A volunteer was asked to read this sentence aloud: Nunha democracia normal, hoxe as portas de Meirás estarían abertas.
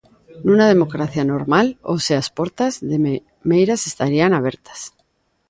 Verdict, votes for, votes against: rejected, 0, 2